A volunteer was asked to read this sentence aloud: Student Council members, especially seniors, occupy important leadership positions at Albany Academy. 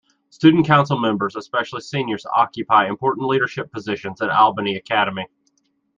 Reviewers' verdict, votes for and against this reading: accepted, 3, 0